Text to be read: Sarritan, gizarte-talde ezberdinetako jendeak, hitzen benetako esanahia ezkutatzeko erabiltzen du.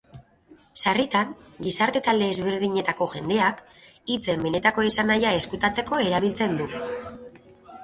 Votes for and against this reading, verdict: 2, 0, accepted